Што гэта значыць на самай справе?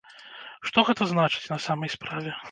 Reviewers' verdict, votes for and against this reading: accepted, 2, 0